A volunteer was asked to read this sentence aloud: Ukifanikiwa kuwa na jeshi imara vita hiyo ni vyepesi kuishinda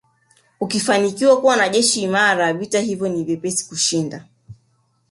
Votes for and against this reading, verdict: 2, 0, accepted